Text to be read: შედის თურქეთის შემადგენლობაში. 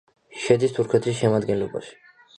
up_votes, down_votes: 2, 0